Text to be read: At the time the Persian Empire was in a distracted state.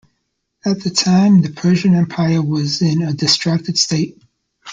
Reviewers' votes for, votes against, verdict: 2, 0, accepted